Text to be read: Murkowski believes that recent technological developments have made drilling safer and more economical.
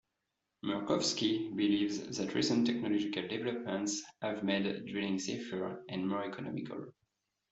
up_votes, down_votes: 2, 1